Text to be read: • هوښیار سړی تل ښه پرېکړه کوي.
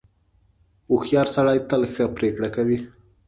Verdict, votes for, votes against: accepted, 2, 0